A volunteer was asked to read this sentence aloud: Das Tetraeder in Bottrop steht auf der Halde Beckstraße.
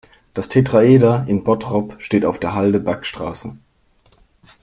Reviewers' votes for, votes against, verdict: 1, 2, rejected